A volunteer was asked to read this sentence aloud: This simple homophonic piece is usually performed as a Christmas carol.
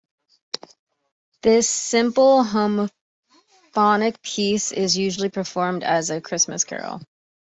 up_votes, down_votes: 0, 2